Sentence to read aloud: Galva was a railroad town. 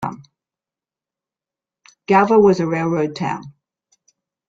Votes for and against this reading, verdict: 2, 0, accepted